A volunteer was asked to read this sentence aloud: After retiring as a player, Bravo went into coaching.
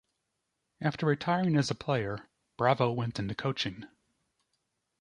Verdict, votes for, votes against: rejected, 0, 2